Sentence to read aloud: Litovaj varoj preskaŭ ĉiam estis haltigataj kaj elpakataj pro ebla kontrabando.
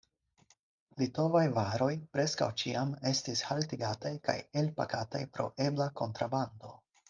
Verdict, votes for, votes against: accepted, 4, 2